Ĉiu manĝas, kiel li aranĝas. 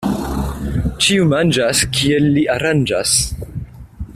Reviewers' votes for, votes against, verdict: 2, 1, accepted